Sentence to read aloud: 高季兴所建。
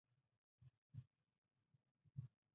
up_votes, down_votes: 0, 3